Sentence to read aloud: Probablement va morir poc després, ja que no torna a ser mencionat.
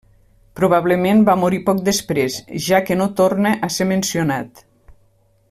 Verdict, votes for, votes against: accepted, 3, 0